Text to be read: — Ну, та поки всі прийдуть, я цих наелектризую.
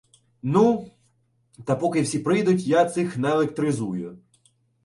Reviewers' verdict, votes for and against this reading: accepted, 2, 0